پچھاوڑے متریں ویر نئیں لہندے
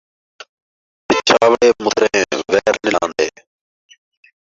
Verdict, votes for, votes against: rejected, 0, 2